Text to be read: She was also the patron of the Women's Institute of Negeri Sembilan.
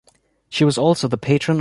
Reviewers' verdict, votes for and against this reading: accepted, 2, 0